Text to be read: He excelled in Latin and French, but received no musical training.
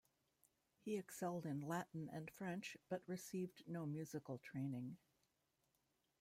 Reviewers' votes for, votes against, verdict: 1, 2, rejected